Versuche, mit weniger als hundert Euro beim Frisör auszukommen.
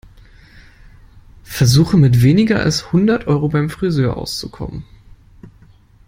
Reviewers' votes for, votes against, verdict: 2, 0, accepted